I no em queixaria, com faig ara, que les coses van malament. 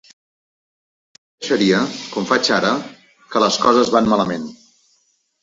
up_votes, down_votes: 1, 2